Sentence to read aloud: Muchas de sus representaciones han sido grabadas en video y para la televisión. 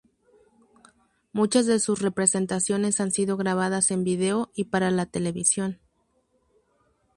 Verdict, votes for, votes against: rejected, 0, 2